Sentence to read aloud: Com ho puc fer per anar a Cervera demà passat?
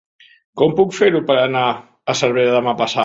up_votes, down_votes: 1, 2